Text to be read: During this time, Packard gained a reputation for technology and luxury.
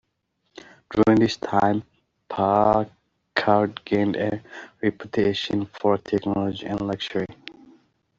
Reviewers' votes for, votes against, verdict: 0, 2, rejected